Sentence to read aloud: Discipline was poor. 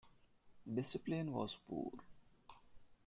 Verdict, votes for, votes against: accepted, 2, 0